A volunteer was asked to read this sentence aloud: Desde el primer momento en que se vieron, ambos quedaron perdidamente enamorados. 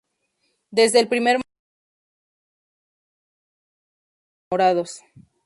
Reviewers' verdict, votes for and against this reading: rejected, 0, 2